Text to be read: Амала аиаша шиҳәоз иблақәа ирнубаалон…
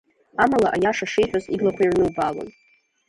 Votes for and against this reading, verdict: 0, 2, rejected